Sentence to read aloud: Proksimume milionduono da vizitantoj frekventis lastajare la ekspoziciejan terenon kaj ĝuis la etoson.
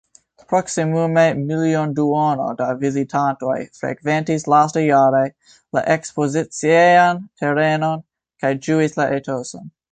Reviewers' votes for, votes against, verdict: 1, 2, rejected